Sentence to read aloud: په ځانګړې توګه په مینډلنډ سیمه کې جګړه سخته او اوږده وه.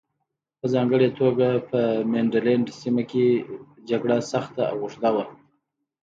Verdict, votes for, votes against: accepted, 2, 0